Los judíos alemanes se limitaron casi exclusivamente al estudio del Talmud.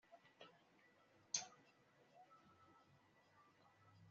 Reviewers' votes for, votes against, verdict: 1, 2, rejected